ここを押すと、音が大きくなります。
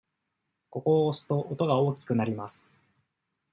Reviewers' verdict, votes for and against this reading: accepted, 2, 0